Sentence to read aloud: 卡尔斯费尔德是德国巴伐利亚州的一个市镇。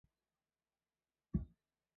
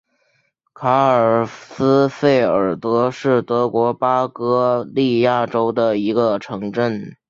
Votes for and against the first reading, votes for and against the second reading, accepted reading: 0, 3, 3, 2, second